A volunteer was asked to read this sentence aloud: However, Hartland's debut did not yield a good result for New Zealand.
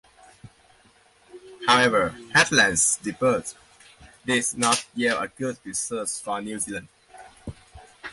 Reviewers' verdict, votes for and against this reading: rejected, 0, 2